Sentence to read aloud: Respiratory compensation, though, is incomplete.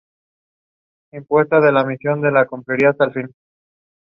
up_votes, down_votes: 0, 2